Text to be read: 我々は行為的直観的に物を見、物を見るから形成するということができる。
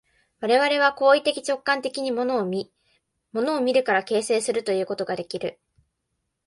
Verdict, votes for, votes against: accepted, 2, 0